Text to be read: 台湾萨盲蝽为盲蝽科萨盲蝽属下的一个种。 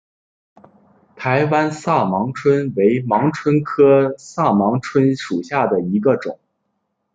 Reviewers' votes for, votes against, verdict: 2, 1, accepted